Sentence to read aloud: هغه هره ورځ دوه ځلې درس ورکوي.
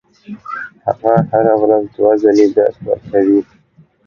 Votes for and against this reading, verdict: 2, 0, accepted